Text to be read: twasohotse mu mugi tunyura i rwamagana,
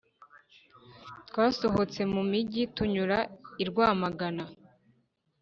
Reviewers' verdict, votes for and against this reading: accepted, 2, 0